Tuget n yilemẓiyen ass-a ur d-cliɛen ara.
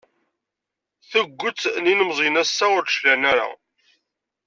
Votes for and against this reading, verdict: 2, 0, accepted